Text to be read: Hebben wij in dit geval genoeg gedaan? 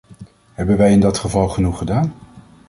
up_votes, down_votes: 2, 0